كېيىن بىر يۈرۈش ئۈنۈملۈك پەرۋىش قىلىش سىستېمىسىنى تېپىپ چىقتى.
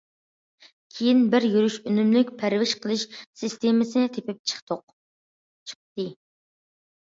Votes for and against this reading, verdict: 0, 2, rejected